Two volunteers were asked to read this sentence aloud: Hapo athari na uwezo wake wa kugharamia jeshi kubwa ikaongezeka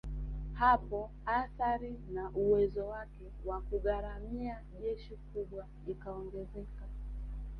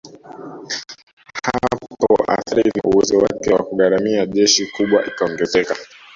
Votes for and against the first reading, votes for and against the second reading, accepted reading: 2, 1, 1, 2, first